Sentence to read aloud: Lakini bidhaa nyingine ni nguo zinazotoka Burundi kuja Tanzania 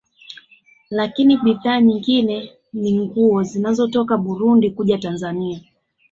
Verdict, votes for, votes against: accepted, 2, 0